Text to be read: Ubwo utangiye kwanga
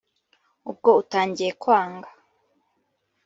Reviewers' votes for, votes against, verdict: 3, 0, accepted